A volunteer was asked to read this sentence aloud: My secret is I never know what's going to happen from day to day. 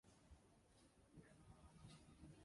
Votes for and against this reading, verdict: 0, 2, rejected